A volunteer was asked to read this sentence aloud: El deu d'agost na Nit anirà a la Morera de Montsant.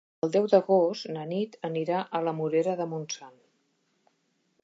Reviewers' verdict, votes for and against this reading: accepted, 4, 0